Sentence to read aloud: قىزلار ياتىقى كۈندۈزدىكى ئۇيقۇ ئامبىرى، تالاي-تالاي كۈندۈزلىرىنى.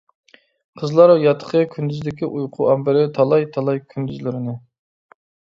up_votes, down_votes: 2, 0